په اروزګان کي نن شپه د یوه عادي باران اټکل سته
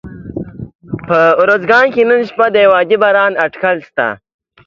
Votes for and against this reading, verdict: 2, 0, accepted